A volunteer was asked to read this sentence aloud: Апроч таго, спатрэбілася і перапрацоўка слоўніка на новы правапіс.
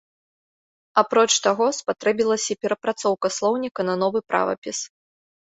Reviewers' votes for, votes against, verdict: 2, 0, accepted